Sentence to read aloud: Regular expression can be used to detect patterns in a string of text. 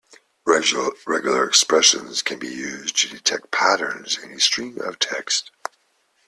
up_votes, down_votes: 0, 2